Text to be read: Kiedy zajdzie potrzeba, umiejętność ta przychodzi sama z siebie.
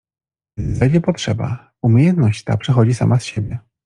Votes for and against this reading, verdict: 0, 2, rejected